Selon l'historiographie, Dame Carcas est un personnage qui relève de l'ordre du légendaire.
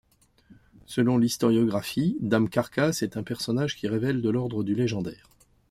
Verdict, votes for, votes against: rejected, 1, 2